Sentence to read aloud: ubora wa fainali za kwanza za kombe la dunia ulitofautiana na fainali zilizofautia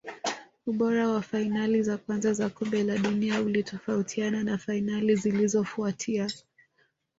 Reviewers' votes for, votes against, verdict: 1, 2, rejected